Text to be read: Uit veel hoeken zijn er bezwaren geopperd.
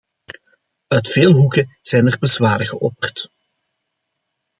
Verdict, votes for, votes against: accepted, 2, 0